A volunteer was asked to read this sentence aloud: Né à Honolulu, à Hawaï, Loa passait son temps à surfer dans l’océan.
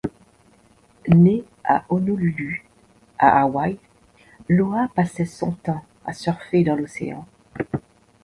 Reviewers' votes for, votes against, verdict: 2, 0, accepted